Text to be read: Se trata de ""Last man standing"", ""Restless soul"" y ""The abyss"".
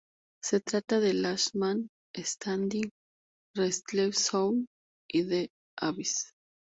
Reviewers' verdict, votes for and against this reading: rejected, 2, 2